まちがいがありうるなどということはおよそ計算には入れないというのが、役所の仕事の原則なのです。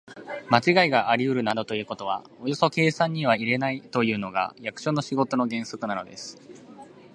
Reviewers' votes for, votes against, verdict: 3, 0, accepted